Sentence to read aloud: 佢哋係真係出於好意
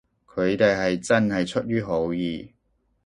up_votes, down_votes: 2, 0